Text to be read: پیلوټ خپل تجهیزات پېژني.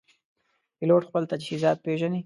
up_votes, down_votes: 2, 0